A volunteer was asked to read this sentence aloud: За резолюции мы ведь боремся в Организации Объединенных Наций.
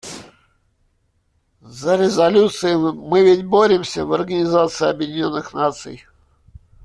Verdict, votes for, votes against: rejected, 1, 2